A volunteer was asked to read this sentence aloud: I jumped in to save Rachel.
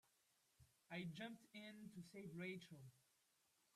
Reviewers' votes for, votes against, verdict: 0, 2, rejected